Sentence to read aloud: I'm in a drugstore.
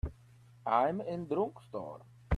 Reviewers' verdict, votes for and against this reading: rejected, 2, 3